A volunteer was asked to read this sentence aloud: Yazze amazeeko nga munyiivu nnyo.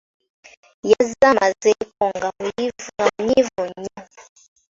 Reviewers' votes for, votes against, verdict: 1, 2, rejected